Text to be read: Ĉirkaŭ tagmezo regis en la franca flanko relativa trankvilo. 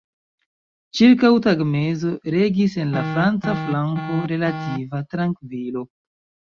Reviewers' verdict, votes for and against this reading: rejected, 1, 2